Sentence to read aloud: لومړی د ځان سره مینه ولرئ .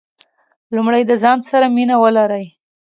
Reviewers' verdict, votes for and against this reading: accepted, 2, 0